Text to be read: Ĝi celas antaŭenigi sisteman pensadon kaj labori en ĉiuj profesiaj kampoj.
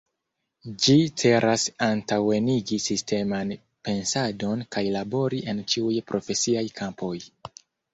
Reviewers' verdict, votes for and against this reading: accepted, 2, 1